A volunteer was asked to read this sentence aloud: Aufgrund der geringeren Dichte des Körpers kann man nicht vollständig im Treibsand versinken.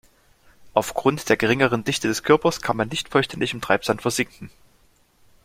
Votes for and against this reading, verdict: 2, 0, accepted